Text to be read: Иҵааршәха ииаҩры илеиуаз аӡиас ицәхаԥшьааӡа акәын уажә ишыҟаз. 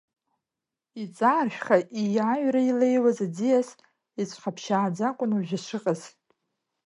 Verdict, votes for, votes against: accepted, 2, 0